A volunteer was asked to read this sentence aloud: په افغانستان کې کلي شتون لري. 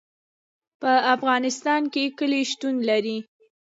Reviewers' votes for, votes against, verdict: 0, 2, rejected